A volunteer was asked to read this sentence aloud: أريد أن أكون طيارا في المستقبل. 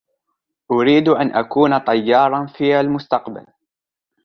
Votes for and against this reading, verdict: 1, 2, rejected